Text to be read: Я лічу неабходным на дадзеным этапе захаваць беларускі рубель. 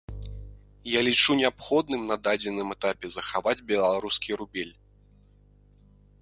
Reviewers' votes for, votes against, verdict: 2, 0, accepted